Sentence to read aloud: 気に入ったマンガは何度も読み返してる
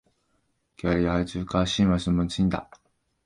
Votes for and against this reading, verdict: 0, 2, rejected